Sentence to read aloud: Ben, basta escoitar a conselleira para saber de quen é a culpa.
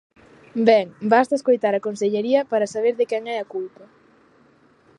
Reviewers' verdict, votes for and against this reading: rejected, 1, 2